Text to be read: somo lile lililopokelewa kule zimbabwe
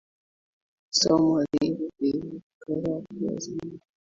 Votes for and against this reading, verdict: 1, 3, rejected